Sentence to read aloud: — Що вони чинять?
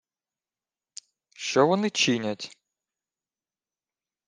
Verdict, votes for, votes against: rejected, 0, 2